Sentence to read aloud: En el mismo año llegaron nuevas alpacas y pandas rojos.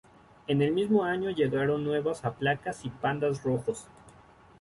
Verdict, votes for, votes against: rejected, 0, 2